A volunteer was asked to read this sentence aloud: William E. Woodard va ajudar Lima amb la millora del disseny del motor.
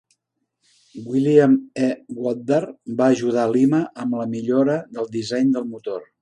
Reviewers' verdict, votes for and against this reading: accepted, 2, 1